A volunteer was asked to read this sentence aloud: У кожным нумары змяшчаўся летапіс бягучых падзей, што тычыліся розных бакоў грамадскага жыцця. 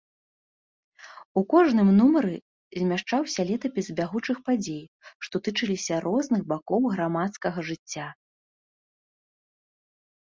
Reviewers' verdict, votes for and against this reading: accepted, 2, 0